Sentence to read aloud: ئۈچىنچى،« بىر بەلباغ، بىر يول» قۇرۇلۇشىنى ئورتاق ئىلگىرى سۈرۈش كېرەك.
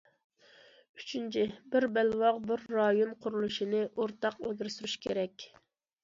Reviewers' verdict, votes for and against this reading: rejected, 0, 2